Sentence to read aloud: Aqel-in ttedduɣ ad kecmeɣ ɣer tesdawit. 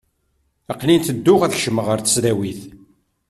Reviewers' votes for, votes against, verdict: 2, 0, accepted